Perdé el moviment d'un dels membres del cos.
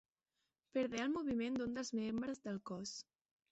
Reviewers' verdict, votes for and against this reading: rejected, 1, 2